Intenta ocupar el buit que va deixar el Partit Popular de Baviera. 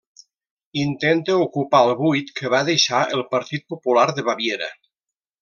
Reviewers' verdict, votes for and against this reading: rejected, 0, 2